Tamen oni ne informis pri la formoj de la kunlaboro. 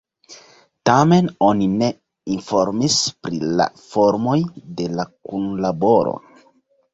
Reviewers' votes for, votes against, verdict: 2, 0, accepted